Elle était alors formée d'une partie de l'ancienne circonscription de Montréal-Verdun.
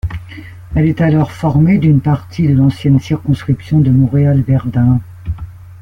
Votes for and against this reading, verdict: 0, 2, rejected